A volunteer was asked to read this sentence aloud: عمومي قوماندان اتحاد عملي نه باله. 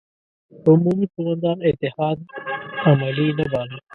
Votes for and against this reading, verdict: 1, 2, rejected